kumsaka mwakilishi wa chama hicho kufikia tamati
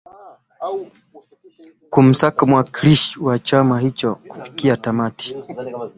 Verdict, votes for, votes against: accepted, 2, 0